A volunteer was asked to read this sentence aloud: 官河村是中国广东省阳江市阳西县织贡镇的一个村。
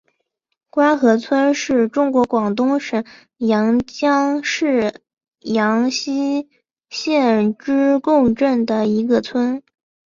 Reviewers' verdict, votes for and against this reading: accepted, 4, 0